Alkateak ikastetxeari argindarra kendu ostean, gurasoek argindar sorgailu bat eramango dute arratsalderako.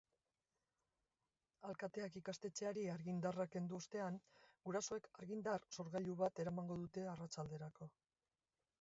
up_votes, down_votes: 3, 1